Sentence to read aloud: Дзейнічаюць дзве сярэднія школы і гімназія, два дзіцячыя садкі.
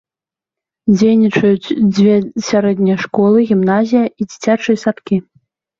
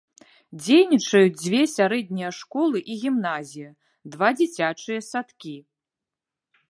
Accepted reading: second